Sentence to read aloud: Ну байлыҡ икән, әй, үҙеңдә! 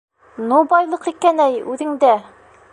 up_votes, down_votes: 1, 2